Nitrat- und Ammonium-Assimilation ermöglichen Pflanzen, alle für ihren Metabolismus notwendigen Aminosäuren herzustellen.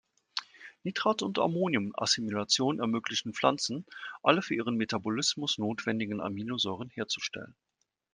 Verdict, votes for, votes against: accepted, 2, 0